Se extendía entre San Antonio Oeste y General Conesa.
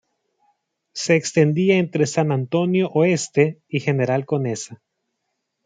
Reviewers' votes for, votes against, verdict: 2, 0, accepted